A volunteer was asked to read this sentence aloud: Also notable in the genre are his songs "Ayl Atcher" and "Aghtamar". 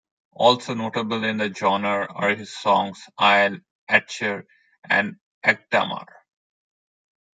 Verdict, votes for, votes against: rejected, 1, 2